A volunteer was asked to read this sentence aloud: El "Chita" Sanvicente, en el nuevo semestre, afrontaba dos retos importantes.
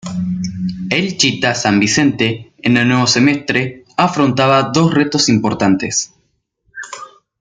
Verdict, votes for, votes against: rejected, 1, 2